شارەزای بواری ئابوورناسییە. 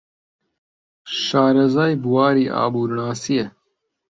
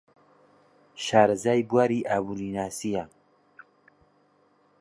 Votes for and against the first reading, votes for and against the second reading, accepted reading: 2, 0, 1, 2, first